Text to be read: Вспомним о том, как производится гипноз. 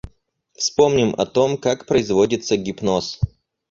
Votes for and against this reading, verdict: 4, 0, accepted